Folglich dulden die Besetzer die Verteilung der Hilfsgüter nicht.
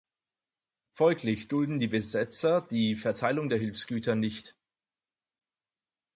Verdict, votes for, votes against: accepted, 4, 2